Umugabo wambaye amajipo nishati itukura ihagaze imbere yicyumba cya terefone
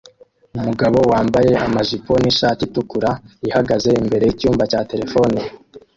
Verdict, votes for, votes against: rejected, 0, 2